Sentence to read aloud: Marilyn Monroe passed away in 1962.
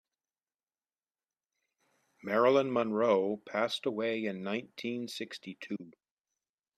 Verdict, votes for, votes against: rejected, 0, 2